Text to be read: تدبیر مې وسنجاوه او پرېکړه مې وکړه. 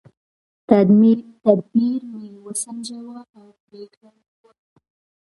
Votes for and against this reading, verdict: 2, 0, accepted